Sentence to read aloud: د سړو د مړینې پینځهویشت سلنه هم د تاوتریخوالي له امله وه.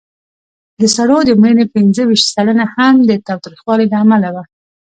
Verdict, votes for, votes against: rejected, 1, 2